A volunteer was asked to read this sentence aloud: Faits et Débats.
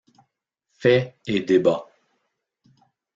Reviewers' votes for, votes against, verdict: 0, 2, rejected